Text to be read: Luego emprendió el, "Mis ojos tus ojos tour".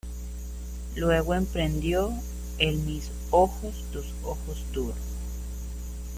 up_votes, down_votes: 0, 2